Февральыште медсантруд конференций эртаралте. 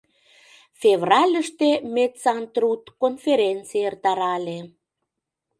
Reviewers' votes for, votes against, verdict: 1, 2, rejected